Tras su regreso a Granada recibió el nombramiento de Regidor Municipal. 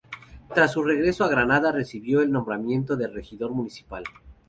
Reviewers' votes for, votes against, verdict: 2, 0, accepted